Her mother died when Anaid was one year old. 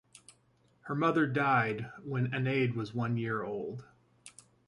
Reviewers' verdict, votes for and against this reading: rejected, 0, 2